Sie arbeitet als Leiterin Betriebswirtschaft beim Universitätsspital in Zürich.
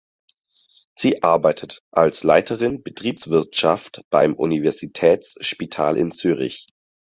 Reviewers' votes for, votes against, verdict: 4, 0, accepted